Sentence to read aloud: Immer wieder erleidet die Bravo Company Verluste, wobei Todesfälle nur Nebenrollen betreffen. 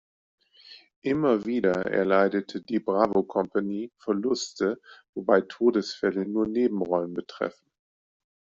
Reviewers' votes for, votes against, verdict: 0, 2, rejected